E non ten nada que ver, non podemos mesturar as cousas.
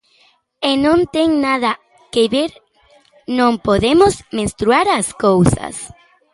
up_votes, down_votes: 0, 3